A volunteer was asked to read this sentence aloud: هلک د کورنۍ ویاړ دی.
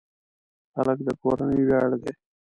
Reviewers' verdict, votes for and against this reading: accepted, 2, 0